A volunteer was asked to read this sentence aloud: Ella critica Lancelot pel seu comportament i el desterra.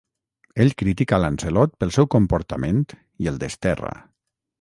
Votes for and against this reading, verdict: 0, 6, rejected